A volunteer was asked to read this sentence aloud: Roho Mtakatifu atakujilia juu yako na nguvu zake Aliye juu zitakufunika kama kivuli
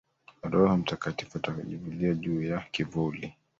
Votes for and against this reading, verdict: 0, 3, rejected